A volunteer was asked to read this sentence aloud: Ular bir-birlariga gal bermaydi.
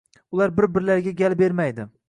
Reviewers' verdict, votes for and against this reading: accepted, 2, 0